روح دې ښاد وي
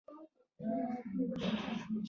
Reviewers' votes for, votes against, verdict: 1, 2, rejected